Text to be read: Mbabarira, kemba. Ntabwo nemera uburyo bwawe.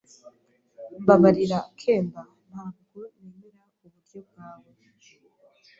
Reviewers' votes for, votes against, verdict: 2, 0, accepted